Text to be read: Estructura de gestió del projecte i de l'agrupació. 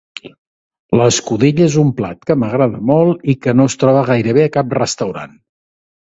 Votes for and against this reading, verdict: 1, 2, rejected